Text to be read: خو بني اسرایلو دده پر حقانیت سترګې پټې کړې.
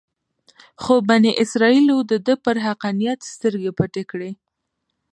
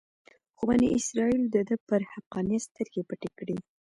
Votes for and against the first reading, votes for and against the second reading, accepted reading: 2, 1, 1, 2, first